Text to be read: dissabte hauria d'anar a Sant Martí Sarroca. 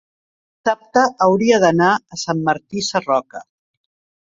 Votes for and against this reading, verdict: 0, 2, rejected